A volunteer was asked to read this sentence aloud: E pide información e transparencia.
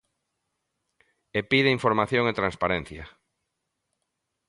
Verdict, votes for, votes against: accepted, 2, 0